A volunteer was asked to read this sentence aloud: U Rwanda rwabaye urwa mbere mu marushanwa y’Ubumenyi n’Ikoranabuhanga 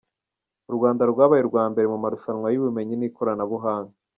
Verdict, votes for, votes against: accepted, 2, 0